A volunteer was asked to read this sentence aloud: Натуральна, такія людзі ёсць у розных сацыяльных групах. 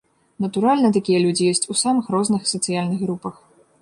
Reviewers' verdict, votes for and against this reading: rejected, 0, 2